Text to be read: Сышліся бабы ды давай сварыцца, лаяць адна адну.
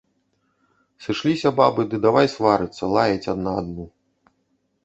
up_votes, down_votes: 1, 2